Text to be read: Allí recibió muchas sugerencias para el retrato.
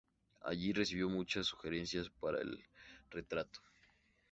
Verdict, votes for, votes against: rejected, 0, 2